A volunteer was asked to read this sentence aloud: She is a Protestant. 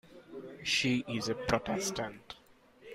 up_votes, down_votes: 2, 0